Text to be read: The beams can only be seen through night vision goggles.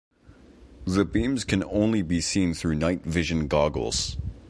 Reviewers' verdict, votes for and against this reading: accepted, 3, 0